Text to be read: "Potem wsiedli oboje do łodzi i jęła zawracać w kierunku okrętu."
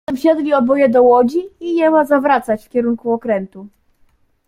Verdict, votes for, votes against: rejected, 1, 2